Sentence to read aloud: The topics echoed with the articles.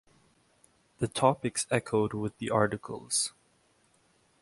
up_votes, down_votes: 2, 0